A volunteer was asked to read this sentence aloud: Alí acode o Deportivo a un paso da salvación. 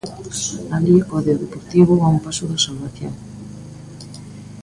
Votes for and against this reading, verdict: 0, 2, rejected